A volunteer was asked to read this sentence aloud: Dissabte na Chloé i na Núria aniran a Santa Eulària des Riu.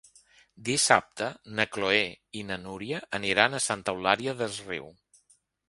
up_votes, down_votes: 2, 0